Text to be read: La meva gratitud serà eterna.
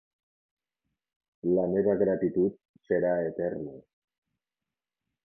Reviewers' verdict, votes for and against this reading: rejected, 1, 2